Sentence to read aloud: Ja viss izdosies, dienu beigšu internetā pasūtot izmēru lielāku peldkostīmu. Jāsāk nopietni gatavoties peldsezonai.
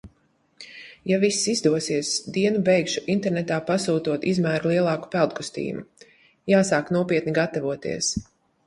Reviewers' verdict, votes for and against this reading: rejected, 0, 2